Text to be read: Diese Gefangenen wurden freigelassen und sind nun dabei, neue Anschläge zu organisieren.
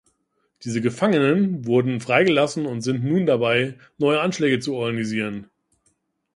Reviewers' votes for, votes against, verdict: 1, 2, rejected